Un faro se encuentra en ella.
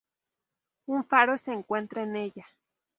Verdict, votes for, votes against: accepted, 2, 0